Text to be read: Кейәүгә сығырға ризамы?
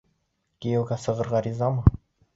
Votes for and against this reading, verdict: 2, 0, accepted